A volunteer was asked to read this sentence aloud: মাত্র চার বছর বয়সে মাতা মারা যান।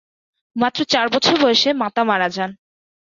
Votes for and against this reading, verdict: 2, 0, accepted